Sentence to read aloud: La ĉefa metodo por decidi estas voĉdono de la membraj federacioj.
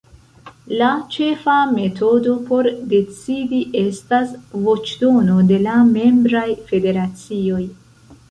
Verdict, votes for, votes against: rejected, 1, 2